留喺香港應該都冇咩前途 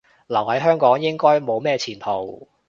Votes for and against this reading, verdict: 1, 2, rejected